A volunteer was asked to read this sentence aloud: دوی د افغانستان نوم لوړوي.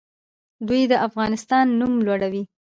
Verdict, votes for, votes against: rejected, 0, 2